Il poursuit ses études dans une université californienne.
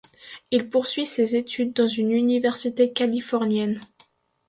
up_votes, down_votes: 2, 0